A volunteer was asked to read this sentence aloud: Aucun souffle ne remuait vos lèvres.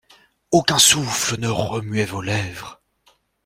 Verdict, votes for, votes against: accepted, 2, 0